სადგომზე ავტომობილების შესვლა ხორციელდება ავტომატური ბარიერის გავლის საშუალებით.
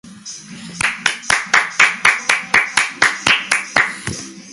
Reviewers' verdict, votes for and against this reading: rejected, 0, 2